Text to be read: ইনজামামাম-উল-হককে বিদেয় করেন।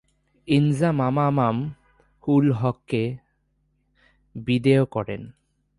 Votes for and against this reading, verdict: 5, 4, accepted